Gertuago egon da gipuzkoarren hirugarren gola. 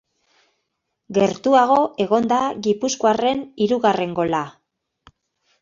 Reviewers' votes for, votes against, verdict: 2, 0, accepted